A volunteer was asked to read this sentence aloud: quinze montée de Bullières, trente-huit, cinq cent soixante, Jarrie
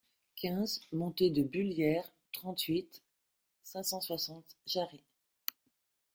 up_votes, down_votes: 0, 2